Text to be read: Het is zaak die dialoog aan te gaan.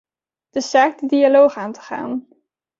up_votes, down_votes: 2, 1